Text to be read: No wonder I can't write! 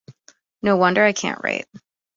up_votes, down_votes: 2, 0